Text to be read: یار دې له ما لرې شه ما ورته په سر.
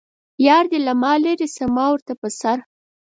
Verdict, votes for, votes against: accepted, 4, 0